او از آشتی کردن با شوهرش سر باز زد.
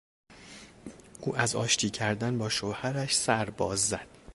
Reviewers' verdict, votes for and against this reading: accepted, 2, 1